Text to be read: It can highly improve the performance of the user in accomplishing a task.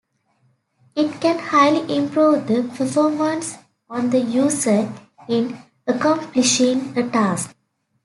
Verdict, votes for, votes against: rejected, 1, 2